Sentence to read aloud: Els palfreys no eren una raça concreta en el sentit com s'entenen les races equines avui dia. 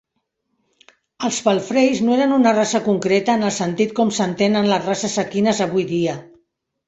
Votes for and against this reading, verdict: 2, 0, accepted